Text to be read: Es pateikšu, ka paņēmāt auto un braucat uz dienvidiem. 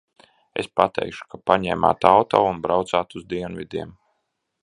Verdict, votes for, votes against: rejected, 1, 2